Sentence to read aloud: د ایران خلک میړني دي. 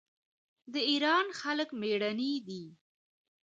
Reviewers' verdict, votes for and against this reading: accepted, 2, 0